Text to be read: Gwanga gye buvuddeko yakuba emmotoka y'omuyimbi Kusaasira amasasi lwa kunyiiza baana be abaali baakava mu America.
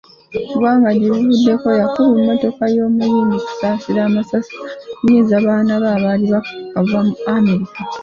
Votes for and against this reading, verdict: 2, 0, accepted